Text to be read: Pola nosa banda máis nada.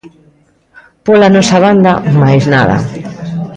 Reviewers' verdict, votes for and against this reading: accepted, 2, 0